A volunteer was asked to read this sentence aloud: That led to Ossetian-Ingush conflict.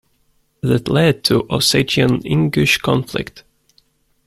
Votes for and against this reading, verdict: 2, 0, accepted